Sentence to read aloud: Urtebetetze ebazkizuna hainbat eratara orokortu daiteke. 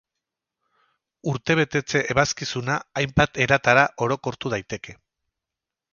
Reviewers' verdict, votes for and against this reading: accepted, 6, 0